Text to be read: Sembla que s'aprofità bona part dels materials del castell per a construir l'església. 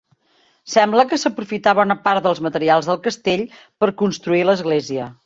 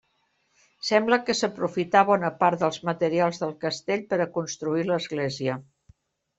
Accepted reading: second